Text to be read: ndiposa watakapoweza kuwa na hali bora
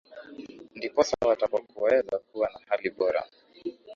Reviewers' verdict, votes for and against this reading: rejected, 1, 2